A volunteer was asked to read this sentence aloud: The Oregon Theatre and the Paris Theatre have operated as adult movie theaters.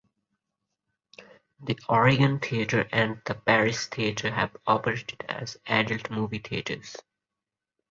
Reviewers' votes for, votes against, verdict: 2, 0, accepted